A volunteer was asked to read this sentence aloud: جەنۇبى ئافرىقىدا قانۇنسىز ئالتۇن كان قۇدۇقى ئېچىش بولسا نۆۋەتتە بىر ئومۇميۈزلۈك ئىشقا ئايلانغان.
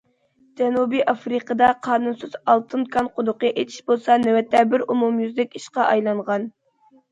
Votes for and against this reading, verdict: 2, 0, accepted